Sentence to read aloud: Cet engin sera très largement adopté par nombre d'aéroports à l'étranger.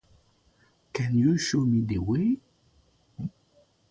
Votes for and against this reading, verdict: 0, 2, rejected